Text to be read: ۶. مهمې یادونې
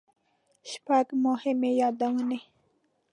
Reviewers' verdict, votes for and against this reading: rejected, 0, 2